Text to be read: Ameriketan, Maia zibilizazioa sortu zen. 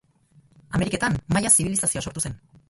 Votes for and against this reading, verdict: 0, 2, rejected